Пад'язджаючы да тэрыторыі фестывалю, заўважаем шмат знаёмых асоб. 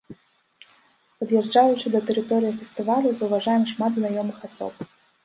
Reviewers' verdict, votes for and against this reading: accepted, 2, 0